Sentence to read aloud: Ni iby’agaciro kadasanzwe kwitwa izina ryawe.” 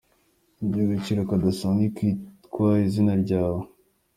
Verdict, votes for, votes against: rejected, 1, 2